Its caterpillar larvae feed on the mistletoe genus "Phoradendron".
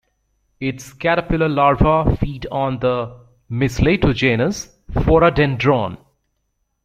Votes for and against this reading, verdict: 1, 2, rejected